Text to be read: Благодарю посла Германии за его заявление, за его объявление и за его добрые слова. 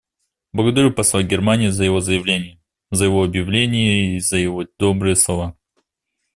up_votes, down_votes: 2, 0